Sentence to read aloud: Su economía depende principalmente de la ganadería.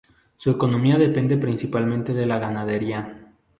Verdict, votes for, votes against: accepted, 2, 0